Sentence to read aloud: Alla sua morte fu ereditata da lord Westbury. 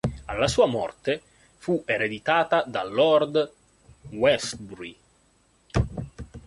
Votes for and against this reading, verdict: 2, 0, accepted